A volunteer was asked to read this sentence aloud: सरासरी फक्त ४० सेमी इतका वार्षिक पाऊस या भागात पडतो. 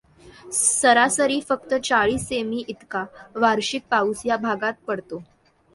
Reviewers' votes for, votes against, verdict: 0, 2, rejected